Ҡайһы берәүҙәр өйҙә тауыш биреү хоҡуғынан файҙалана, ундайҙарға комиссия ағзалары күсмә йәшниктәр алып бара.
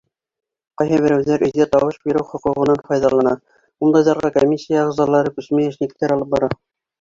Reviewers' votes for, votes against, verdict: 2, 1, accepted